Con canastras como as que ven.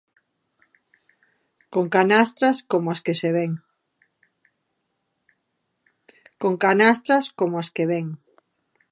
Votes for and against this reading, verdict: 0, 2, rejected